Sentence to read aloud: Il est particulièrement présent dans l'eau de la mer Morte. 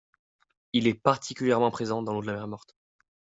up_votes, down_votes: 0, 2